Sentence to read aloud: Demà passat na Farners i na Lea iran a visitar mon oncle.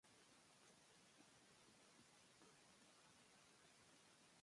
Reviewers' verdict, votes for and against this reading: rejected, 0, 2